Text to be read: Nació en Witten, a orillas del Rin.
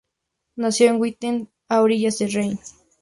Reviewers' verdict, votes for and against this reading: rejected, 0, 2